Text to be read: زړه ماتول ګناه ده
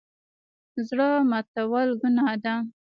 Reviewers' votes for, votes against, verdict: 1, 2, rejected